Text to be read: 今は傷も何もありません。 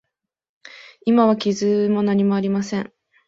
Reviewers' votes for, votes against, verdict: 3, 0, accepted